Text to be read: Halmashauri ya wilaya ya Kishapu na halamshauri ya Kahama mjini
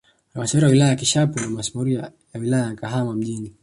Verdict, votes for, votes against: rejected, 1, 2